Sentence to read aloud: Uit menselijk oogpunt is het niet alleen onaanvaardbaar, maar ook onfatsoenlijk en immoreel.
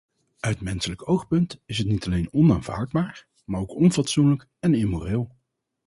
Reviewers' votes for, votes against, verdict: 2, 2, rejected